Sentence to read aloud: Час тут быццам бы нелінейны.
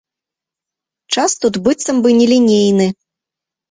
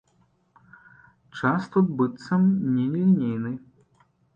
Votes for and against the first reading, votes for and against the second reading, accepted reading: 2, 0, 0, 2, first